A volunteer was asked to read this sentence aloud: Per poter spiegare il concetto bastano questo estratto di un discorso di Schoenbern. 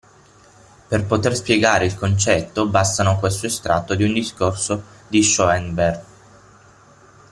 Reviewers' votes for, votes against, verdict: 6, 3, accepted